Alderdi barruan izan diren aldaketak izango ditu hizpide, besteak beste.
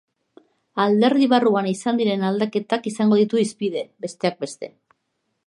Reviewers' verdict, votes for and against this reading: accepted, 2, 0